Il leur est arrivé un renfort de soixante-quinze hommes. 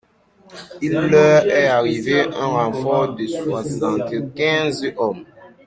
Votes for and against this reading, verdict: 1, 2, rejected